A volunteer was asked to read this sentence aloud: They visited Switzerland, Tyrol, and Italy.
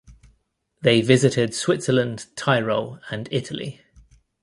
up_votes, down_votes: 2, 0